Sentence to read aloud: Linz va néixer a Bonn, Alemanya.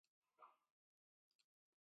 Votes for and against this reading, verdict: 0, 2, rejected